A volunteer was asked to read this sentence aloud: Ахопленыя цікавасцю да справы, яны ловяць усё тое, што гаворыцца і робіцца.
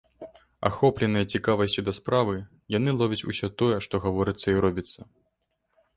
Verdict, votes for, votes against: accepted, 2, 0